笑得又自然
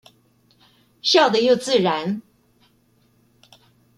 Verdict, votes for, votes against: rejected, 0, 2